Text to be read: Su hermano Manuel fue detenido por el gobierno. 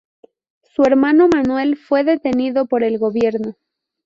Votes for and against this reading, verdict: 0, 2, rejected